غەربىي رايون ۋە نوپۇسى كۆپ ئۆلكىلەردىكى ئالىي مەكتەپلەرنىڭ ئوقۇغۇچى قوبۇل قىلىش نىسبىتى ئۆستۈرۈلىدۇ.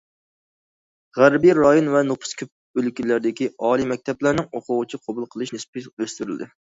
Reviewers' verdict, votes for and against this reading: rejected, 0, 2